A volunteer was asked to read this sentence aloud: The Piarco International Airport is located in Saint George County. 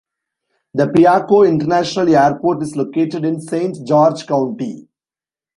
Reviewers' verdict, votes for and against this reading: rejected, 1, 2